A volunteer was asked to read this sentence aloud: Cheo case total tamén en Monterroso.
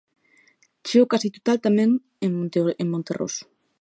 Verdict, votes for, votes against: rejected, 0, 2